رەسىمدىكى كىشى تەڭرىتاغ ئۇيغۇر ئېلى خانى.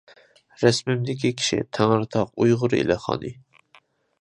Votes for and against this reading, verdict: 0, 2, rejected